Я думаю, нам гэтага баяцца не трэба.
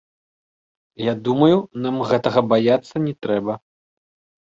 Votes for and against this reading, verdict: 2, 0, accepted